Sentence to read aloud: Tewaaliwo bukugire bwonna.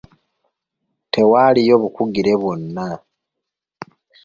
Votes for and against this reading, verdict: 1, 2, rejected